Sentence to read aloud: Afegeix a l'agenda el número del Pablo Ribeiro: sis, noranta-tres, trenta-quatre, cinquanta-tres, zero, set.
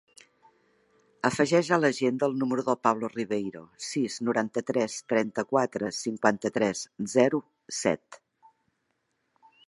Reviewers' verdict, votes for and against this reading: accepted, 2, 0